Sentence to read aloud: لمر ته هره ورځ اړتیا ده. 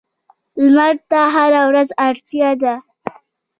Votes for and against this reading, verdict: 1, 2, rejected